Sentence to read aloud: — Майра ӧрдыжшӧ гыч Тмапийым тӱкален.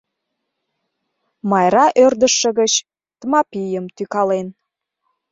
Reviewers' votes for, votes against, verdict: 0, 2, rejected